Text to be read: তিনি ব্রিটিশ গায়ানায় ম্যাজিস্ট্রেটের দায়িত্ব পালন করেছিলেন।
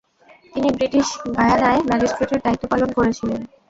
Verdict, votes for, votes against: rejected, 0, 2